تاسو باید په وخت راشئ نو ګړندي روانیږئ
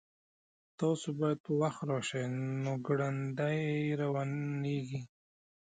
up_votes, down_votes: 2, 1